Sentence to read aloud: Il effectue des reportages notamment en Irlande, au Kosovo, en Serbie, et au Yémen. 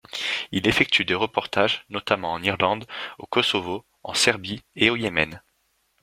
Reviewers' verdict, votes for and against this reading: accepted, 2, 0